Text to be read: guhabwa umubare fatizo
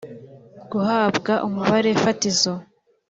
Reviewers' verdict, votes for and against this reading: accepted, 2, 0